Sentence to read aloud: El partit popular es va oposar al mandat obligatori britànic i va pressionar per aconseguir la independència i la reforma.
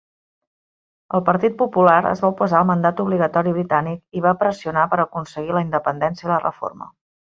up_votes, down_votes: 6, 0